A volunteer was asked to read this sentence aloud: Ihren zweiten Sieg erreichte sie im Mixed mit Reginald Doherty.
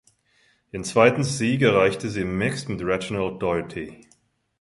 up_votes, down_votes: 1, 2